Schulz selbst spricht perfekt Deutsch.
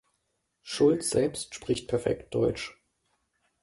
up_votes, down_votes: 2, 0